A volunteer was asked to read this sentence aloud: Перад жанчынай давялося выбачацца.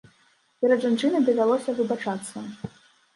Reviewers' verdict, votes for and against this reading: accepted, 2, 0